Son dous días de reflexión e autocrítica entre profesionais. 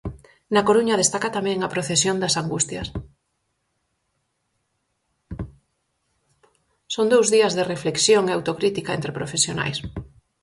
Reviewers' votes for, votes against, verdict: 2, 2, rejected